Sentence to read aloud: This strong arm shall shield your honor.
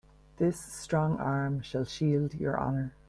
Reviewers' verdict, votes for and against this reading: accepted, 2, 0